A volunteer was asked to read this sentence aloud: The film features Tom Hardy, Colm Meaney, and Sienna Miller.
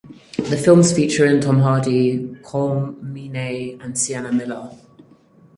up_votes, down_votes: 0, 4